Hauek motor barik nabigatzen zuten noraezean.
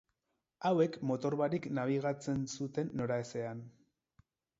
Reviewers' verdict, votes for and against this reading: rejected, 0, 4